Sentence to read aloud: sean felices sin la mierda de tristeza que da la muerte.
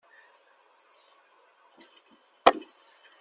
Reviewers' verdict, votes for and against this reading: rejected, 0, 2